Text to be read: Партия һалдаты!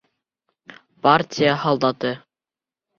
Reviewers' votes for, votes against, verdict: 2, 0, accepted